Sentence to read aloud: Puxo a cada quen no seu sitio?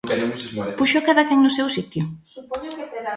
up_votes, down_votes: 1, 2